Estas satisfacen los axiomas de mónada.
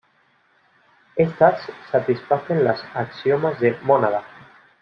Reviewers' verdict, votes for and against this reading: rejected, 1, 2